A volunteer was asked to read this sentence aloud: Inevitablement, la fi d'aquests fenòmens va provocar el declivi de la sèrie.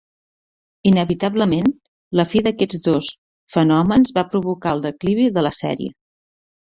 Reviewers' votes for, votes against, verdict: 1, 2, rejected